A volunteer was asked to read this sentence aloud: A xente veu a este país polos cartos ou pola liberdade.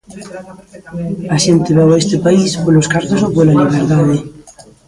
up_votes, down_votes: 0, 2